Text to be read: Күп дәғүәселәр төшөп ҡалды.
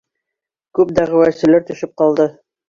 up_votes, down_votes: 2, 1